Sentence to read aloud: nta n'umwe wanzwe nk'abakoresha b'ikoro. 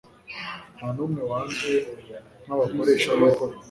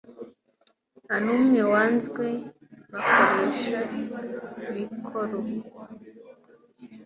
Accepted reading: first